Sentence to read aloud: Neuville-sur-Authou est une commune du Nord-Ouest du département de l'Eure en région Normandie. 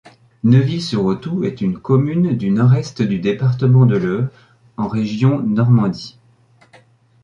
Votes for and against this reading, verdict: 1, 2, rejected